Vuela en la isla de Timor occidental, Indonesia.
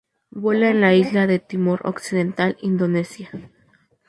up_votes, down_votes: 2, 0